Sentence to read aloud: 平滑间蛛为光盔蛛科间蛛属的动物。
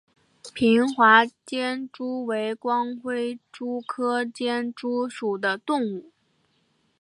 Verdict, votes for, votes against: accepted, 3, 0